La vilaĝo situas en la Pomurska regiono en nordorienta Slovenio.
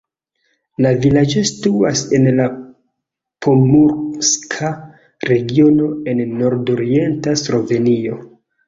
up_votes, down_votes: 1, 2